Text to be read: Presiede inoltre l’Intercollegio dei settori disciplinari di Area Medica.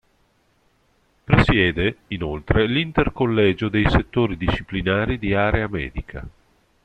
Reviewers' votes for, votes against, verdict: 1, 2, rejected